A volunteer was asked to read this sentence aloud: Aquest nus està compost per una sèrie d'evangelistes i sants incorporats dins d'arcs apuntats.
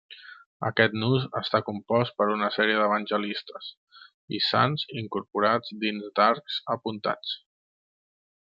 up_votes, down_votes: 2, 0